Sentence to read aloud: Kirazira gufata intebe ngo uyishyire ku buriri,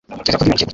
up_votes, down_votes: 1, 3